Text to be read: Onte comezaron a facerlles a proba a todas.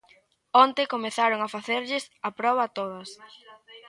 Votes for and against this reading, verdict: 1, 2, rejected